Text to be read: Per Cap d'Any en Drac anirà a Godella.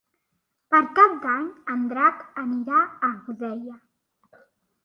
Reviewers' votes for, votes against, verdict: 2, 0, accepted